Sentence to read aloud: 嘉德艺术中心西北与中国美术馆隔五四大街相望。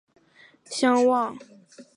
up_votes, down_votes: 0, 2